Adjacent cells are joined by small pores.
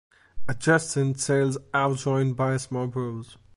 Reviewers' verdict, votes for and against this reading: accepted, 2, 0